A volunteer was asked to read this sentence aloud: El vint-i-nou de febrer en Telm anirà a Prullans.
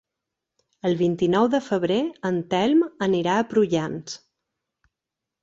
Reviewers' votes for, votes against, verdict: 3, 0, accepted